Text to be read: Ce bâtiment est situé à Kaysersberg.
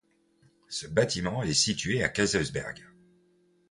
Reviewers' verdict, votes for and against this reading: accepted, 2, 0